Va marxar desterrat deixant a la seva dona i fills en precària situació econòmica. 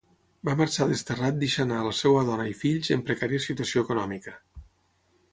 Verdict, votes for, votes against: rejected, 3, 3